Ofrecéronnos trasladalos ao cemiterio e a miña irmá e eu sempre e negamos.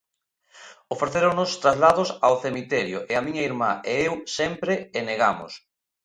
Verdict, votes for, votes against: rejected, 0, 2